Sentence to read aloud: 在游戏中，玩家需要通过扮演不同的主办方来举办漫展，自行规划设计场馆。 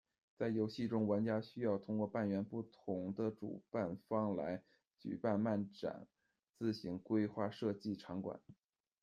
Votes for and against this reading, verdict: 2, 0, accepted